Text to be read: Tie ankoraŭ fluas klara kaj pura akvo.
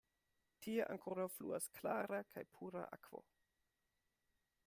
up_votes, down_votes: 2, 0